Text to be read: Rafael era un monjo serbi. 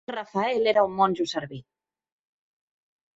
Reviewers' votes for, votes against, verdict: 1, 2, rejected